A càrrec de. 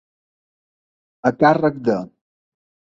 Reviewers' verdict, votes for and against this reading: accepted, 2, 0